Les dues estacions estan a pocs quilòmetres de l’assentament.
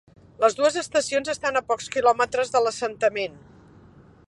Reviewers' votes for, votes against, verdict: 3, 0, accepted